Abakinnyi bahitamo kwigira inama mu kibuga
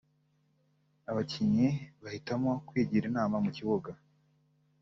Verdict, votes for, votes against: accepted, 2, 0